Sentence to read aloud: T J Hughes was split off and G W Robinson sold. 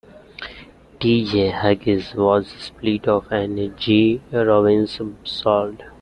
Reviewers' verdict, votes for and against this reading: rejected, 0, 2